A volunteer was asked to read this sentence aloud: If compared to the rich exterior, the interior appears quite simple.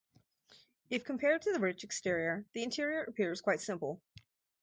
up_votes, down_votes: 2, 2